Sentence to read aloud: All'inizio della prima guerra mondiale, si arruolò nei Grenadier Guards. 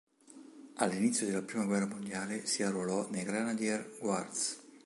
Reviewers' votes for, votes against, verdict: 3, 0, accepted